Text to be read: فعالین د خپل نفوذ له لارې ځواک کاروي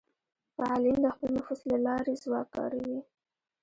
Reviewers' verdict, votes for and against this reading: rejected, 1, 2